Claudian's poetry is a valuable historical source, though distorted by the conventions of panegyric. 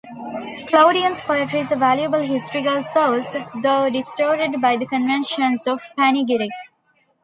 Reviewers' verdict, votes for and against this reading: rejected, 1, 2